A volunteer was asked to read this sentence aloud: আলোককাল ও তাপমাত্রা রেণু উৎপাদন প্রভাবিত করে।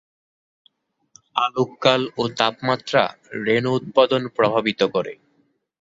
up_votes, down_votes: 2, 0